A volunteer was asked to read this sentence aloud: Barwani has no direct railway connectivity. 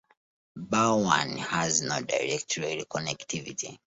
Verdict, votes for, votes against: rejected, 0, 2